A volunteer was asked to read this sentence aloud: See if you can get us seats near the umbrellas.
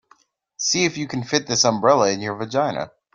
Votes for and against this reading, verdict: 0, 2, rejected